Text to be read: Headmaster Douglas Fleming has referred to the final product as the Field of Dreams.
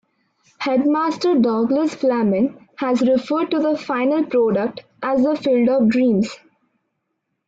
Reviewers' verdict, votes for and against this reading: accepted, 2, 0